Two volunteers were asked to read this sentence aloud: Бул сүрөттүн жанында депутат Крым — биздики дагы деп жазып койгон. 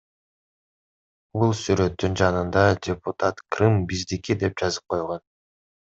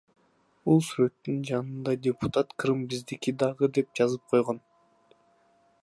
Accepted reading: second